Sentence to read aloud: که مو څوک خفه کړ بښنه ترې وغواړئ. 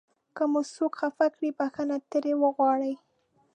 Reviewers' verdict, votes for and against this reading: rejected, 0, 2